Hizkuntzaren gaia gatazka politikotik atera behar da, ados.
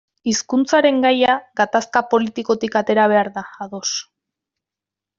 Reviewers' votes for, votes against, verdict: 2, 0, accepted